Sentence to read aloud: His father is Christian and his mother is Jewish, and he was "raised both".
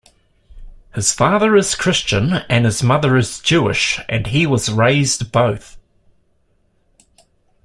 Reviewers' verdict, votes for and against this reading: accepted, 2, 0